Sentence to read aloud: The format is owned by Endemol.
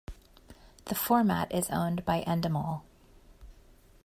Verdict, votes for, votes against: accepted, 2, 0